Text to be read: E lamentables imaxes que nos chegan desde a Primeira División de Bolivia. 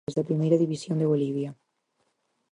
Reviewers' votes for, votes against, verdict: 0, 4, rejected